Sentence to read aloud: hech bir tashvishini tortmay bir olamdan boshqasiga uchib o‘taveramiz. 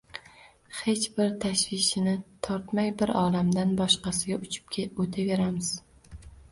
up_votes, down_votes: 0, 2